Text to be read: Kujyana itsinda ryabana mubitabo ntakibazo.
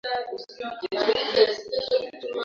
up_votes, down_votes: 0, 2